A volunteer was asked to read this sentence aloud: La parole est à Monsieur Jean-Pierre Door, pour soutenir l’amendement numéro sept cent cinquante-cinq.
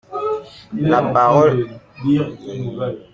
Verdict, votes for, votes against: rejected, 0, 2